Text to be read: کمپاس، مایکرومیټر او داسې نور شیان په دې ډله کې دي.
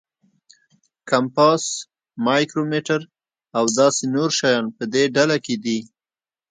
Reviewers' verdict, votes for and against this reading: accepted, 2, 0